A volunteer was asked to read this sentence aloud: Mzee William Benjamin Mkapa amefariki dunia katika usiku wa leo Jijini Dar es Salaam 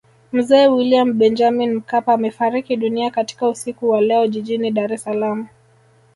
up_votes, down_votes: 2, 0